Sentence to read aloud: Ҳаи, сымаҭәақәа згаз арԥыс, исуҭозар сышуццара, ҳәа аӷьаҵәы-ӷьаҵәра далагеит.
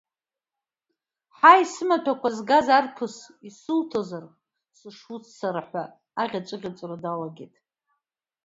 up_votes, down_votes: 2, 0